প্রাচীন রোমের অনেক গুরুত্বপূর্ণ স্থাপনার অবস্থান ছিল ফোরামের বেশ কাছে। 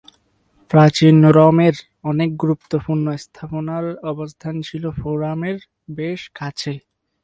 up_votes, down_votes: 4, 0